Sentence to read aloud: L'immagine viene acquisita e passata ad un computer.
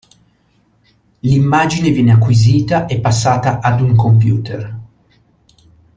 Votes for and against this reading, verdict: 2, 0, accepted